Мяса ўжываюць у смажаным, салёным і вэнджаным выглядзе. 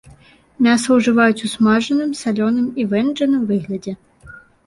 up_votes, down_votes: 2, 0